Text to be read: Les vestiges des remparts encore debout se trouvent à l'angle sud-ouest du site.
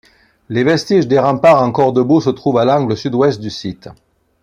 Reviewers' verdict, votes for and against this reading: accepted, 2, 0